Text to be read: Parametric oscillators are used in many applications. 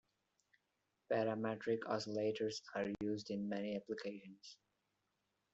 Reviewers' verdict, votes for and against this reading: accepted, 2, 0